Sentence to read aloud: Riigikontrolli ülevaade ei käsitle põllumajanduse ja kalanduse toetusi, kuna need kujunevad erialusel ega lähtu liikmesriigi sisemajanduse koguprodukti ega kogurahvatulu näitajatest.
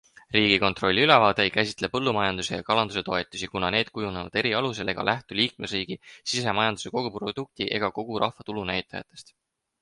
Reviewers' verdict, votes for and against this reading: accepted, 4, 0